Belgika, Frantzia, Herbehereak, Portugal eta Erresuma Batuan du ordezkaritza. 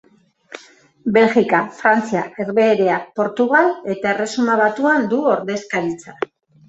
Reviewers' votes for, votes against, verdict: 2, 0, accepted